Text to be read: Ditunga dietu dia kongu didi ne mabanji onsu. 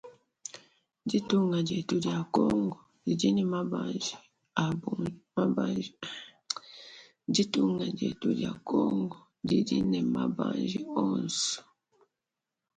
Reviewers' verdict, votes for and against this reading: rejected, 0, 2